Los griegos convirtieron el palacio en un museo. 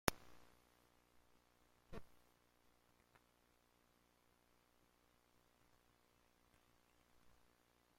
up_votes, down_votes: 0, 2